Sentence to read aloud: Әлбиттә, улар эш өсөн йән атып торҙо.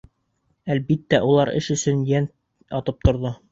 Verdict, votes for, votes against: accepted, 2, 0